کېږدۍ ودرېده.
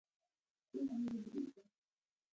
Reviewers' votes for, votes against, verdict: 0, 2, rejected